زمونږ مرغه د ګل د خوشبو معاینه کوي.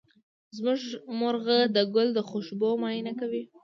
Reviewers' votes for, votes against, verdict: 1, 2, rejected